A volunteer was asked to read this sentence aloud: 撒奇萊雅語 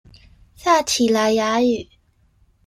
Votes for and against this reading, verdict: 1, 2, rejected